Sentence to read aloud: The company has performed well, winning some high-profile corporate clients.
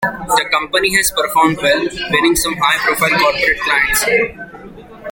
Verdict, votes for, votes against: accepted, 2, 1